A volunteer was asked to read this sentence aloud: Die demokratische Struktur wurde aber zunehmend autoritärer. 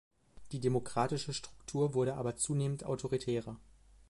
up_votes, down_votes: 2, 0